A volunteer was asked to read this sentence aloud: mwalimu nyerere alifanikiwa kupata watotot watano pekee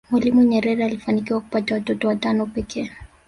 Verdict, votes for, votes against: rejected, 1, 2